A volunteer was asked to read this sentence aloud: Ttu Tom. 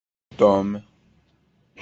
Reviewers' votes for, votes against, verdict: 0, 2, rejected